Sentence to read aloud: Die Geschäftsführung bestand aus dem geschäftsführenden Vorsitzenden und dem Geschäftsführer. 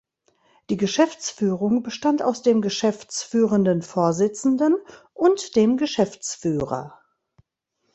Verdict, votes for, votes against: accepted, 2, 0